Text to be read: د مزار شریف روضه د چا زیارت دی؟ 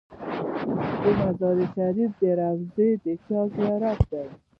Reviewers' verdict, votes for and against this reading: accepted, 2, 1